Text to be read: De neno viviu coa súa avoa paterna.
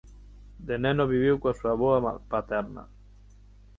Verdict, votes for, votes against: rejected, 0, 6